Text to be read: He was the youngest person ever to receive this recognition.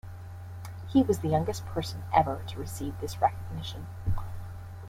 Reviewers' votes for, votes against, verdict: 2, 0, accepted